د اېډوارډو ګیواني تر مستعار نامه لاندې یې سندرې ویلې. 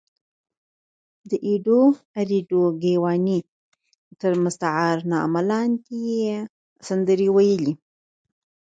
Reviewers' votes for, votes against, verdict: 2, 4, rejected